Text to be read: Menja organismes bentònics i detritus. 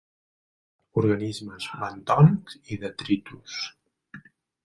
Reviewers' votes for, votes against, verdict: 0, 2, rejected